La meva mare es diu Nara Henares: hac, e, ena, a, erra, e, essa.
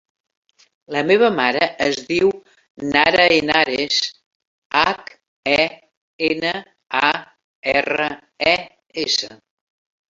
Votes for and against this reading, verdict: 2, 0, accepted